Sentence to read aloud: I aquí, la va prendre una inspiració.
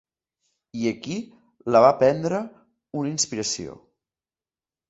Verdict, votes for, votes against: accepted, 2, 0